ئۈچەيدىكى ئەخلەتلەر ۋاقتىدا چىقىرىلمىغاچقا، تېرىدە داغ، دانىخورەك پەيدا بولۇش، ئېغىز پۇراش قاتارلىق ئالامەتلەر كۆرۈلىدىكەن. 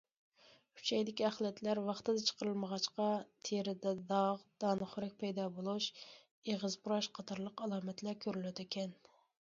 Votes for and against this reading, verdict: 2, 0, accepted